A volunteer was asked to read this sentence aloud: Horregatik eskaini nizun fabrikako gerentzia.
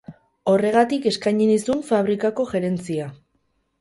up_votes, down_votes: 0, 2